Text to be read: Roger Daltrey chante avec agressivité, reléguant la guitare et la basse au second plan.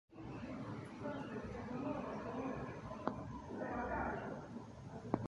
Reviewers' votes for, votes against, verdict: 0, 2, rejected